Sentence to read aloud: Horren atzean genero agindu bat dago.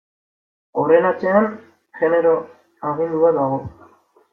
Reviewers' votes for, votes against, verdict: 2, 0, accepted